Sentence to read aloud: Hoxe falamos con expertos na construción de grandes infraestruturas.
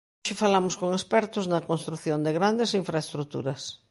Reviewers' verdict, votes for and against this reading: rejected, 0, 2